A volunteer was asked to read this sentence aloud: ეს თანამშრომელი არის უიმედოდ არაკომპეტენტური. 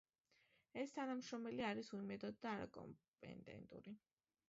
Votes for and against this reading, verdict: 1, 2, rejected